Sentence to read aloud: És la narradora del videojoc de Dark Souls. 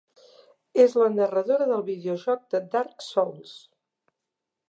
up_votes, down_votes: 3, 0